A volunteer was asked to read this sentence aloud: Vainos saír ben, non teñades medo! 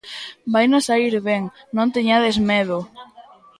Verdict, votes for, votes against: accepted, 2, 0